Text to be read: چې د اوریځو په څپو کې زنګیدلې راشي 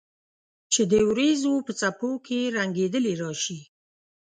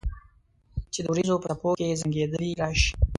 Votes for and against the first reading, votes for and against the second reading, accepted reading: 0, 2, 2, 0, second